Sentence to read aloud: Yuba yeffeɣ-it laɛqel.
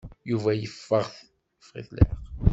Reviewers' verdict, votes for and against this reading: rejected, 1, 2